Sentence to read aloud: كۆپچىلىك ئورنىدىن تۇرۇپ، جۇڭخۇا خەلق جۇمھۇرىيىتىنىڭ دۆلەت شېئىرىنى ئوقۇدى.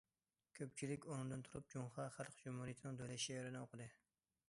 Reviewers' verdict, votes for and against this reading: accepted, 2, 0